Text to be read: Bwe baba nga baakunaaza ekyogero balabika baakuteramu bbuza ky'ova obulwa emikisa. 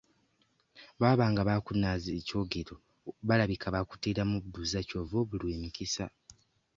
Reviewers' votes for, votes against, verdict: 1, 2, rejected